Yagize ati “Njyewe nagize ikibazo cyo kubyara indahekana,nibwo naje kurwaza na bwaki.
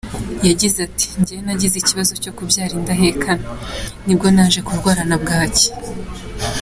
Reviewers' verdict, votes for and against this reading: accepted, 2, 0